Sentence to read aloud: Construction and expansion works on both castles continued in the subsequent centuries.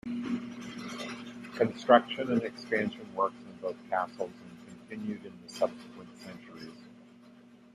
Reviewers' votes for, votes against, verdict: 0, 2, rejected